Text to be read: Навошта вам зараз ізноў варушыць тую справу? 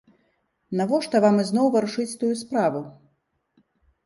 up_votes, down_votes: 0, 3